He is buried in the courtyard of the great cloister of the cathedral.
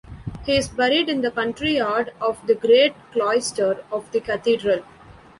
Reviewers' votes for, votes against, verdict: 0, 2, rejected